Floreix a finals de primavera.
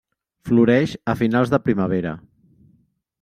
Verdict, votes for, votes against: accepted, 3, 0